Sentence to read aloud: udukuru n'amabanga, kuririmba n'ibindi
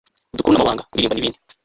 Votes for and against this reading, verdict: 0, 3, rejected